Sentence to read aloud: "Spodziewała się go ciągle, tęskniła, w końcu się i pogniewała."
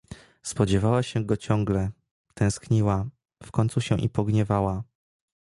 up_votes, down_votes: 2, 0